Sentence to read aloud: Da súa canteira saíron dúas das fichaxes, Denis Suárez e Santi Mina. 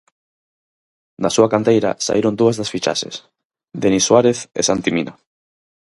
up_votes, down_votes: 4, 0